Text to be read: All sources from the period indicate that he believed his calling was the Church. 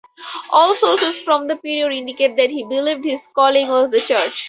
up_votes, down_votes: 4, 0